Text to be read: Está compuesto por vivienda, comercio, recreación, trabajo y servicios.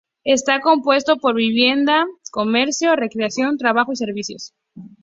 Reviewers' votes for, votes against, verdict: 4, 0, accepted